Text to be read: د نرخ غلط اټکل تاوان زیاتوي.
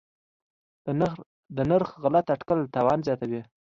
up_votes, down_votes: 2, 0